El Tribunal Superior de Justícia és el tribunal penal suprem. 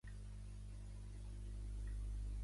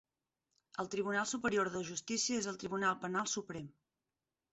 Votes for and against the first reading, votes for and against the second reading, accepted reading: 1, 2, 6, 0, second